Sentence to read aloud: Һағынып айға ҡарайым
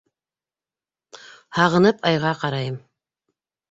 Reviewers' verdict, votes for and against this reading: accepted, 2, 0